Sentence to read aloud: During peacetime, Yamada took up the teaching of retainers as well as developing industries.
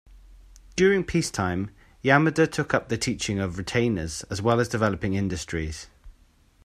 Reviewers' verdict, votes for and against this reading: accepted, 2, 0